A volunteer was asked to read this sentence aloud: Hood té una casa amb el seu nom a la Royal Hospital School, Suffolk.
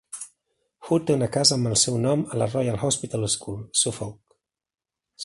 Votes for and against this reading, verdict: 3, 0, accepted